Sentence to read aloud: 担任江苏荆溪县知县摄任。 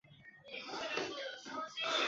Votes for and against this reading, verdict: 2, 4, rejected